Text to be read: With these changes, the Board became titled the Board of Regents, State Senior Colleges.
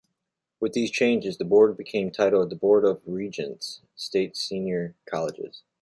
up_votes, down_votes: 2, 0